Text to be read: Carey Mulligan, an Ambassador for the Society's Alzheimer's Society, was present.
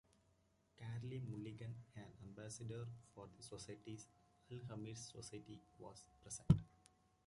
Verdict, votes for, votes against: rejected, 0, 2